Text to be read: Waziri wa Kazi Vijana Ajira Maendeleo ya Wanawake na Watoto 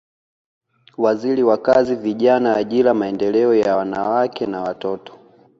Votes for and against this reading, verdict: 2, 0, accepted